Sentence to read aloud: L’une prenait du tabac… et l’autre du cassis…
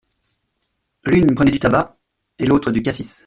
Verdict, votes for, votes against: rejected, 0, 2